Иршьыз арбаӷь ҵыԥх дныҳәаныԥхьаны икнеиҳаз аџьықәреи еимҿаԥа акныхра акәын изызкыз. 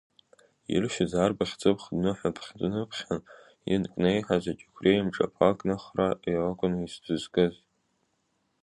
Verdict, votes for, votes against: rejected, 0, 2